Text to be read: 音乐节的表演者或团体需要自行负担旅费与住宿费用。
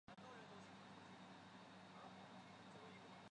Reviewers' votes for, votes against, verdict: 0, 2, rejected